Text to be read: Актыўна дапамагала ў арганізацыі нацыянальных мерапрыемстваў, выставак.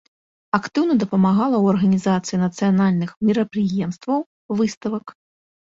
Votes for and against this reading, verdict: 2, 0, accepted